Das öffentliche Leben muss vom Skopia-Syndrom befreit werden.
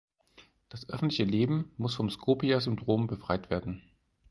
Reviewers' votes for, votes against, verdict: 2, 4, rejected